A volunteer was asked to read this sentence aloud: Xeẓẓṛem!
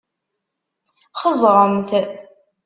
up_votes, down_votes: 0, 2